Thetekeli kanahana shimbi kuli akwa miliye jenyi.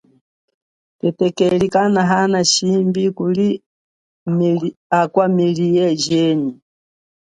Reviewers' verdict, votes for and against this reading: accepted, 2, 1